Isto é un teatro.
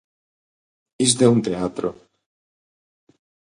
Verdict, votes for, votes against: accepted, 2, 0